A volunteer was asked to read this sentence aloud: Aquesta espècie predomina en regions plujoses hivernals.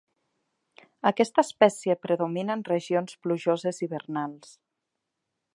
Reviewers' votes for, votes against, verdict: 3, 0, accepted